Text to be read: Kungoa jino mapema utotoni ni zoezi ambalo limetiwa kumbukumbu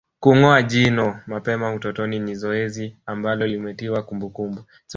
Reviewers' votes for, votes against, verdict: 3, 0, accepted